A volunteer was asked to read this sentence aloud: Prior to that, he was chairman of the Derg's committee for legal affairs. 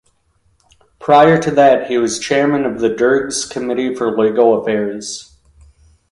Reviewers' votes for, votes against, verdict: 2, 0, accepted